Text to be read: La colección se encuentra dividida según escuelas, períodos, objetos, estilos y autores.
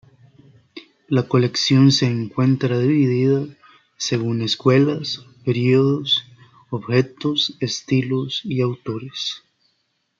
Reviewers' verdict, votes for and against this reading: accepted, 2, 0